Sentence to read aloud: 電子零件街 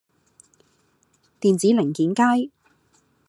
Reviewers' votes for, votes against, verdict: 2, 0, accepted